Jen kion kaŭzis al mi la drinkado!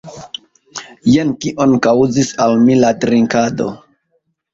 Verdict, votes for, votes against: rejected, 1, 2